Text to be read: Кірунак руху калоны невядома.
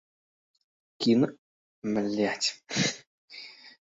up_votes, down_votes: 1, 2